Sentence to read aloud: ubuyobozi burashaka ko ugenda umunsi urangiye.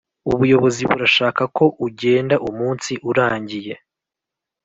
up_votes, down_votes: 2, 0